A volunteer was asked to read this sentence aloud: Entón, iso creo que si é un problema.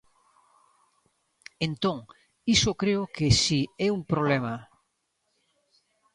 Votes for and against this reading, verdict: 2, 0, accepted